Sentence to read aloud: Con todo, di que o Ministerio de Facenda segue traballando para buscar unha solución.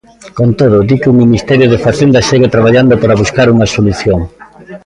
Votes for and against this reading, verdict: 2, 1, accepted